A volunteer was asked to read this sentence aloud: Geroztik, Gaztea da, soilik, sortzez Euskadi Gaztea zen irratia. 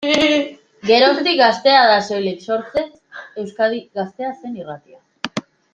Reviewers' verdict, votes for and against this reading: rejected, 1, 2